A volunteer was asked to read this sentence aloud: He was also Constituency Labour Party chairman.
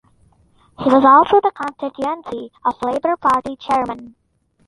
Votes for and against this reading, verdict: 1, 2, rejected